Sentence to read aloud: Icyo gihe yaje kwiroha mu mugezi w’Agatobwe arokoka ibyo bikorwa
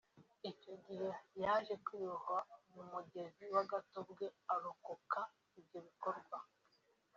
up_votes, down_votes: 2, 1